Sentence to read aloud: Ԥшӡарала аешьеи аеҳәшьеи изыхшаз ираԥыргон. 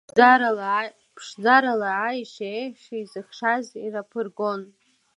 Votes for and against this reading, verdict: 2, 1, accepted